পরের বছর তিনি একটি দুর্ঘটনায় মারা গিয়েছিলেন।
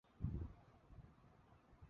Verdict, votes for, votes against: rejected, 0, 2